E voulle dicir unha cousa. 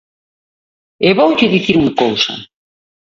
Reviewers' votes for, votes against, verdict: 0, 2, rejected